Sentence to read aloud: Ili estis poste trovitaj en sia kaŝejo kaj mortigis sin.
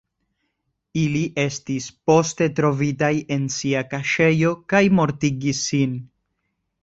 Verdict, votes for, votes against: accepted, 2, 0